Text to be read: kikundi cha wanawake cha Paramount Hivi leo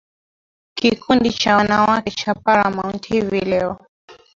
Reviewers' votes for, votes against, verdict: 0, 2, rejected